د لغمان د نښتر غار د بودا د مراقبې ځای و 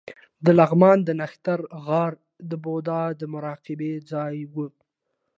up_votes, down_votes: 2, 0